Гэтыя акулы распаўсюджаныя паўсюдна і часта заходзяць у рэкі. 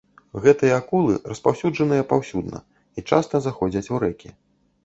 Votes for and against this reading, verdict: 2, 0, accepted